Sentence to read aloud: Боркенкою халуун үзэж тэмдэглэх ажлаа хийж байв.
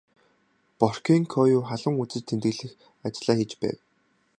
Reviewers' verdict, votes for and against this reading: accepted, 4, 0